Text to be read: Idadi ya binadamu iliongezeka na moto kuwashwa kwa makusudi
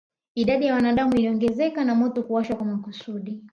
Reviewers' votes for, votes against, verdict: 1, 2, rejected